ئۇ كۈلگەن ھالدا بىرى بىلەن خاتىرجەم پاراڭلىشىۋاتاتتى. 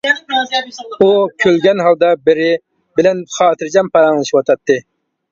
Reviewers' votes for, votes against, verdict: 2, 0, accepted